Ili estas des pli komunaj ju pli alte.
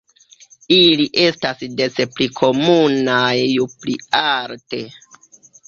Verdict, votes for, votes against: rejected, 1, 2